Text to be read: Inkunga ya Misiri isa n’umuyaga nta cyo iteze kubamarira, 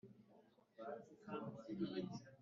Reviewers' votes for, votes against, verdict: 0, 2, rejected